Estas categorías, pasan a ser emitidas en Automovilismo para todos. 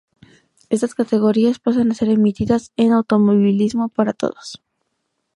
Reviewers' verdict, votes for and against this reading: rejected, 0, 2